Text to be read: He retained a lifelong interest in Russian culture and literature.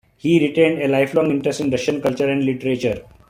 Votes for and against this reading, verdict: 2, 0, accepted